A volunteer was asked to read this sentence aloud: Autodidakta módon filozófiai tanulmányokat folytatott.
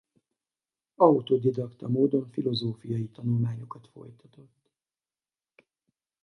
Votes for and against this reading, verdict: 2, 0, accepted